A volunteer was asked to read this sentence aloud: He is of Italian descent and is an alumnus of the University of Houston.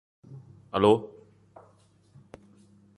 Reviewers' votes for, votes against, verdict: 0, 2, rejected